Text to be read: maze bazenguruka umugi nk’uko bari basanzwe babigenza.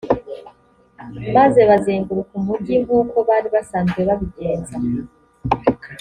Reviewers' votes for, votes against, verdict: 3, 0, accepted